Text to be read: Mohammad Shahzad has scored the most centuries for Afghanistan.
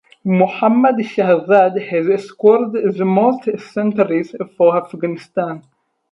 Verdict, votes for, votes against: accepted, 4, 2